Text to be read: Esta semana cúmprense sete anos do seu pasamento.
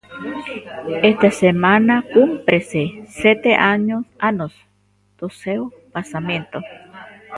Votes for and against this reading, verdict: 1, 2, rejected